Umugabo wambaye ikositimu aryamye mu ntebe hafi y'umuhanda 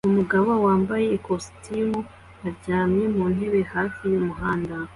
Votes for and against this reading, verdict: 2, 0, accepted